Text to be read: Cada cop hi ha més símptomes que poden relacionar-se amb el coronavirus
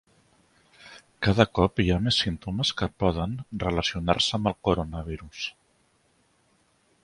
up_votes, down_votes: 3, 0